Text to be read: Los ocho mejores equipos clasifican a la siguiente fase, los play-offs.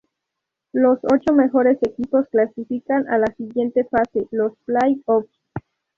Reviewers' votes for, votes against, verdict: 0, 2, rejected